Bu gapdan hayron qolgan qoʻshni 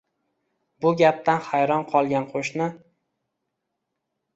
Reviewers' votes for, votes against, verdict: 2, 0, accepted